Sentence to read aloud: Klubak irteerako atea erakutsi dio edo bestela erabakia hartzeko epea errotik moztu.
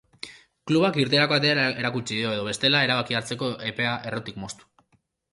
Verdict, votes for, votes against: rejected, 0, 2